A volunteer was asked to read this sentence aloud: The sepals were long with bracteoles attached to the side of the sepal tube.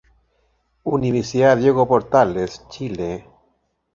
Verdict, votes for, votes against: rejected, 1, 2